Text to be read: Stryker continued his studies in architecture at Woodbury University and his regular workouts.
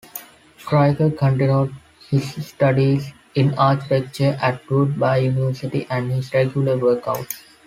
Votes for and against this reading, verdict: 2, 1, accepted